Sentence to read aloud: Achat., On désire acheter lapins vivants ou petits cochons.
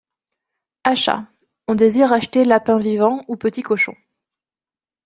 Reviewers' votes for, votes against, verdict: 2, 0, accepted